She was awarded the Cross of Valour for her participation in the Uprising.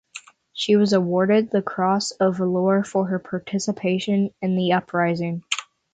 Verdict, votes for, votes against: accepted, 6, 0